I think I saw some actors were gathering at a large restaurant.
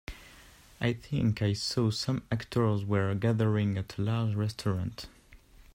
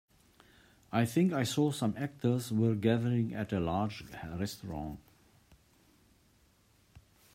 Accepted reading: first